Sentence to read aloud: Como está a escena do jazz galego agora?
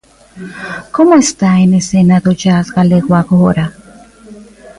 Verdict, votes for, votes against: rejected, 0, 2